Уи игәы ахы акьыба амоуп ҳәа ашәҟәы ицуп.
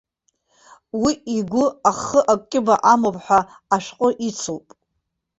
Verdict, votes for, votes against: accepted, 2, 0